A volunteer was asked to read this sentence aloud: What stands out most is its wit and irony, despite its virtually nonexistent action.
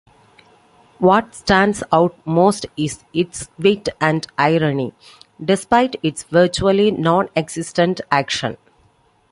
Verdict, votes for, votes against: accepted, 2, 0